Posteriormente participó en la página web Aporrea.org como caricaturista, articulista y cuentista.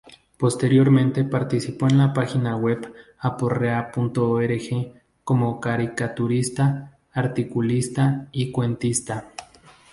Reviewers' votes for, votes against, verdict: 0, 2, rejected